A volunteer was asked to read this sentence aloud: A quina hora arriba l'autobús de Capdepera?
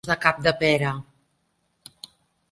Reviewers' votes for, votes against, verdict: 0, 2, rejected